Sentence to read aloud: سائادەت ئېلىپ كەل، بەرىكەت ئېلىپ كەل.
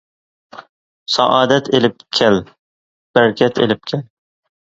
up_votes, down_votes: 2, 0